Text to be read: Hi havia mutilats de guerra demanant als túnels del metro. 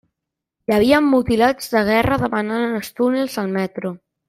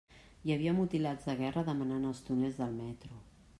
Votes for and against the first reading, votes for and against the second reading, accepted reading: 0, 2, 2, 0, second